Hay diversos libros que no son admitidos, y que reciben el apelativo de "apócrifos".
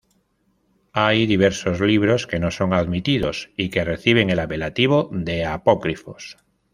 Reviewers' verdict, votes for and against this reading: accepted, 2, 0